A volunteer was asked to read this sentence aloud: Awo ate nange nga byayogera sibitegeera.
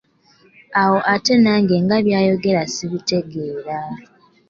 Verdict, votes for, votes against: accepted, 2, 0